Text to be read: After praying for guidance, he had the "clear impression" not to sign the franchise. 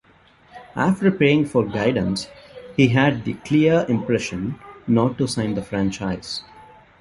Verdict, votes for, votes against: rejected, 1, 2